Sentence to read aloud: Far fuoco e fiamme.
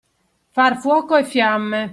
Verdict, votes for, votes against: accepted, 2, 0